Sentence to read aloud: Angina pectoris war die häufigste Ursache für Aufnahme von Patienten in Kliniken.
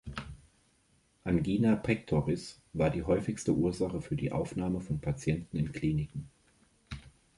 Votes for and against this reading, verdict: 1, 2, rejected